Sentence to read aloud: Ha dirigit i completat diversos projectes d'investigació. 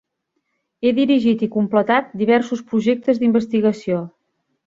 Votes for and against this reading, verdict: 0, 2, rejected